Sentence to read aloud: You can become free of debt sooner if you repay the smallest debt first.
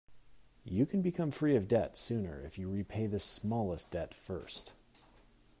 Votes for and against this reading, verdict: 2, 0, accepted